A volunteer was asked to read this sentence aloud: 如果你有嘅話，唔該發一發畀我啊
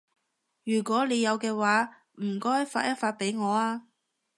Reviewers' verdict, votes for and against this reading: accepted, 2, 0